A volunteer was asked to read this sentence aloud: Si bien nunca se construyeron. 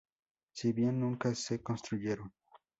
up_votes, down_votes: 0, 2